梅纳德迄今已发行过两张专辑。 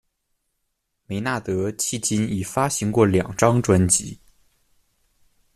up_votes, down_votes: 2, 0